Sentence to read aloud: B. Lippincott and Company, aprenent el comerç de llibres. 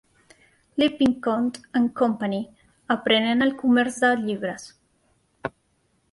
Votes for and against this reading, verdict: 1, 2, rejected